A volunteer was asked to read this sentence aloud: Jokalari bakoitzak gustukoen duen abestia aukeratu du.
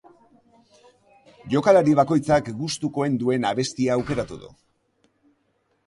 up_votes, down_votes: 2, 1